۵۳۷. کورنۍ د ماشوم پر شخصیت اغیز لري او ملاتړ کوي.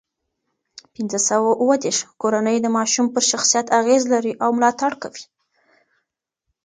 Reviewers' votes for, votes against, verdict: 0, 2, rejected